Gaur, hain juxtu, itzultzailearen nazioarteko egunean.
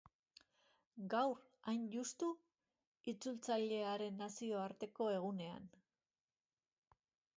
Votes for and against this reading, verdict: 2, 0, accepted